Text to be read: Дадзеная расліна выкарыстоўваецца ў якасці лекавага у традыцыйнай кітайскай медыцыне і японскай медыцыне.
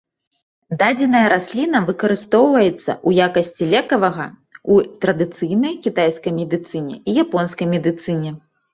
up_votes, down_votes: 2, 0